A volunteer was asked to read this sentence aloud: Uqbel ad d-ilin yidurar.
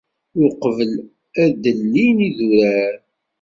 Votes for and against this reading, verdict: 2, 1, accepted